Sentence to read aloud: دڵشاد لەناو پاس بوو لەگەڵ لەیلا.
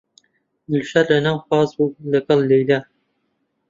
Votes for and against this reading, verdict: 1, 2, rejected